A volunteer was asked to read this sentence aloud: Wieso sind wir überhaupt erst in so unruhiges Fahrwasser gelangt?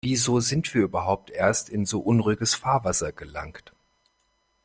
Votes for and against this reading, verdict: 2, 0, accepted